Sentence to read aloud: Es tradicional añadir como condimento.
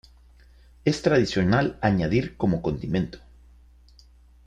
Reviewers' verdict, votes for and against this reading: accepted, 2, 0